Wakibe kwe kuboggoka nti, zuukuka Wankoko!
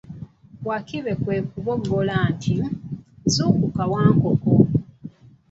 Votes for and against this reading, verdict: 1, 2, rejected